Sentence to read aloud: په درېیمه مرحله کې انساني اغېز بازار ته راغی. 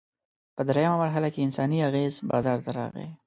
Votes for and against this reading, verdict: 2, 0, accepted